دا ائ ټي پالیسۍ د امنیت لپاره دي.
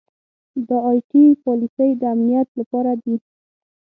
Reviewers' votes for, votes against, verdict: 3, 6, rejected